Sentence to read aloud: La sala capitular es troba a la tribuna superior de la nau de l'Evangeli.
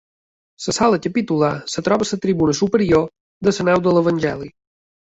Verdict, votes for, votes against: rejected, 1, 2